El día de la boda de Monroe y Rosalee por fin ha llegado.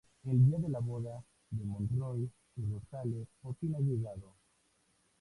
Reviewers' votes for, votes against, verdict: 2, 0, accepted